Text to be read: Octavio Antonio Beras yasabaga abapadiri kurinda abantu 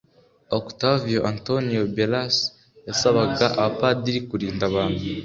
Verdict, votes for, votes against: accepted, 2, 0